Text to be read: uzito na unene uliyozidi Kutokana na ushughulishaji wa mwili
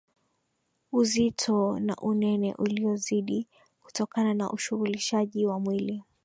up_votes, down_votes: 2, 1